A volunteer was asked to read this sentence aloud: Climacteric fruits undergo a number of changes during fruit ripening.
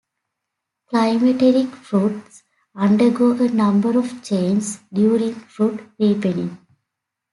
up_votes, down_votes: 2, 1